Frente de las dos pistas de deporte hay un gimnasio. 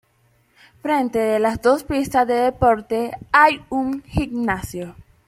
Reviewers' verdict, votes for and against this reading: rejected, 1, 2